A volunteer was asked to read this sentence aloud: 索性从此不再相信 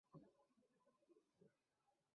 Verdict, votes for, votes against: rejected, 0, 3